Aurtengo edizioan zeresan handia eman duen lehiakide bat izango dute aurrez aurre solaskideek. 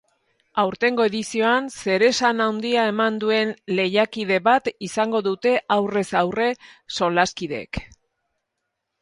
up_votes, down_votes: 4, 0